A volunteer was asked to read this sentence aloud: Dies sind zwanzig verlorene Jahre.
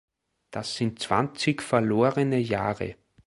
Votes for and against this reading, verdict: 1, 2, rejected